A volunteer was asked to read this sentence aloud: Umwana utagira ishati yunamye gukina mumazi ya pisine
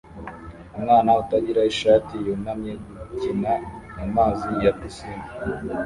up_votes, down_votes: 0, 2